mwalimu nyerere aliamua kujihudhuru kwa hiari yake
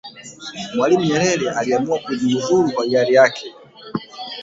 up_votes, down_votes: 1, 2